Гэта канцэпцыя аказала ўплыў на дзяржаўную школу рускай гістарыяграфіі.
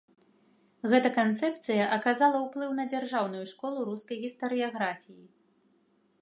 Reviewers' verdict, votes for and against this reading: accepted, 2, 0